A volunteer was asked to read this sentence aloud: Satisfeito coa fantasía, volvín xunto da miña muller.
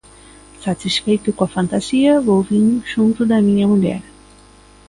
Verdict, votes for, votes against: accepted, 2, 0